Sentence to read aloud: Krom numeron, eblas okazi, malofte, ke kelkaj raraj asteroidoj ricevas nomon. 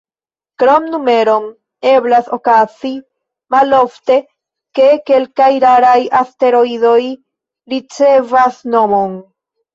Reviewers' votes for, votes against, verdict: 1, 2, rejected